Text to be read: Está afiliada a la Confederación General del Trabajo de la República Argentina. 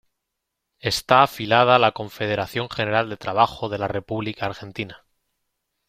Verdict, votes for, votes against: rejected, 0, 2